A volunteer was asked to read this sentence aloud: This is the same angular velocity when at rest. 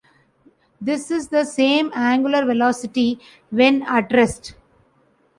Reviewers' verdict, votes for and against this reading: accepted, 2, 0